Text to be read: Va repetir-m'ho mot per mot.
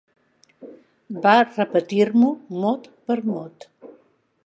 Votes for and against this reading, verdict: 4, 0, accepted